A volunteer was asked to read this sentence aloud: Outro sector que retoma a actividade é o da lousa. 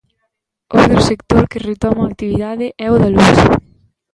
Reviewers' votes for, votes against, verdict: 0, 2, rejected